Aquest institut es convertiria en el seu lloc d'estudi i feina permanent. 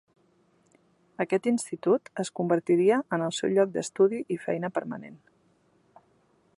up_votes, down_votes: 1, 2